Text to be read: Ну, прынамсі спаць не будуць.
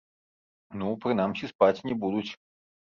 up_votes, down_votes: 1, 2